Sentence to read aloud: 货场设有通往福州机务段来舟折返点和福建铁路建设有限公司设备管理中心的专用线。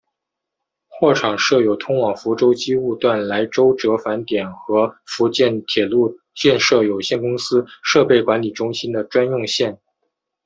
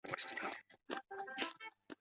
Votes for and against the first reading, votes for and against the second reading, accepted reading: 2, 0, 0, 2, first